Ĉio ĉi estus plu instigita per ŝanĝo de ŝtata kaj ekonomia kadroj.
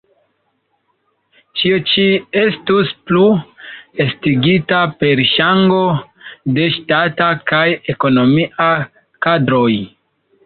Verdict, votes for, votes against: rejected, 0, 2